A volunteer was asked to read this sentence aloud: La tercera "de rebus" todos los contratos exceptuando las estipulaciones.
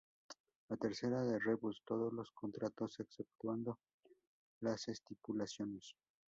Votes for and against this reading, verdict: 0, 2, rejected